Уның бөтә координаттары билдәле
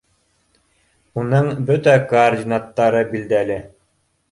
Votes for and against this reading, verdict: 1, 2, rejected